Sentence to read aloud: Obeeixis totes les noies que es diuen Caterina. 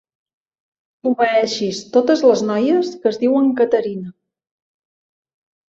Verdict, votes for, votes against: accepted, 2, 0